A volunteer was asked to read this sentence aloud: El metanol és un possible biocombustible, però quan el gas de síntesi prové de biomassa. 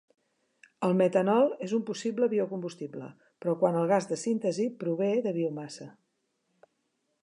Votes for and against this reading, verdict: 3, 0, accepted